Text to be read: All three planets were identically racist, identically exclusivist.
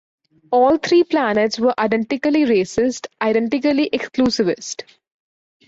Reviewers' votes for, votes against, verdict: 2, 0, accepted